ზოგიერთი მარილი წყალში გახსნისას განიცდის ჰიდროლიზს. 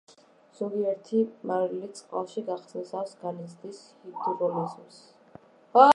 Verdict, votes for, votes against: rejected, 0, 2